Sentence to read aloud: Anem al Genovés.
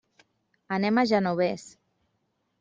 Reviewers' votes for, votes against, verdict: 1, 2, rejected